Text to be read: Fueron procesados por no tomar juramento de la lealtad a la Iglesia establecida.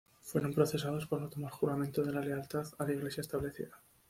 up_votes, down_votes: 2, 0